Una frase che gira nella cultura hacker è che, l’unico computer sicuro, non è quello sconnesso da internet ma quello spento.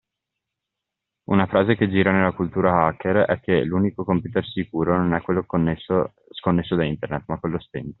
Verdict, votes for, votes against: rejected, 0, 2